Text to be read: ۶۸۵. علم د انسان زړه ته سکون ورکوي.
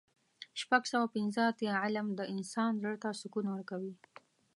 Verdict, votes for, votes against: rejected, 0, 2